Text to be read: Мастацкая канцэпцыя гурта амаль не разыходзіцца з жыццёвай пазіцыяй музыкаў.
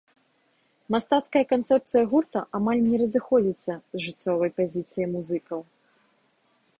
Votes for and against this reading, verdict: 1, 2, rejected